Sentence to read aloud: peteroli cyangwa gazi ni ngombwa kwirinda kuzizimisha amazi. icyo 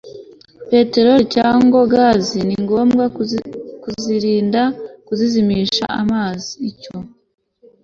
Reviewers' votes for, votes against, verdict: 0, 2, rejected